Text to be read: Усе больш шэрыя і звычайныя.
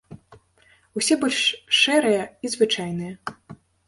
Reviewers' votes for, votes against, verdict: 2, 0, accepted